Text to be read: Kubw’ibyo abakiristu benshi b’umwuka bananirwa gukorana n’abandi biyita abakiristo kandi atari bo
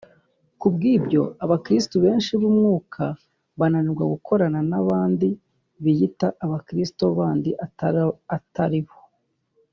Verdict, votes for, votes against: rejected, 0, 2